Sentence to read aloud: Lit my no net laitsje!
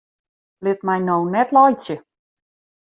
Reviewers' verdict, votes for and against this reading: accepted, 2, 1